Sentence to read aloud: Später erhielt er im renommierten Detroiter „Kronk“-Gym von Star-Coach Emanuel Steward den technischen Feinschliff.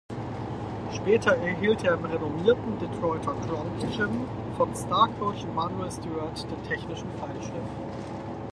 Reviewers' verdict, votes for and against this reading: rejected, 2, 4